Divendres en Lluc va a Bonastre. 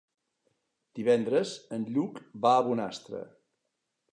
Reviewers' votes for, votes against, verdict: 3, 0, accepted